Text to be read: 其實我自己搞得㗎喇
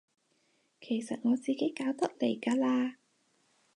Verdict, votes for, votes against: rejected, 0, 4